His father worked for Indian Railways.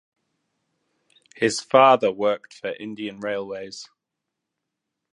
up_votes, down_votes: 2, 1